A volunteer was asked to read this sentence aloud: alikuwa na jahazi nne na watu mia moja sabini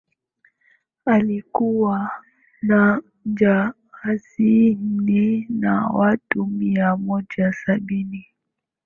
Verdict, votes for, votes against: accepted, 3, 2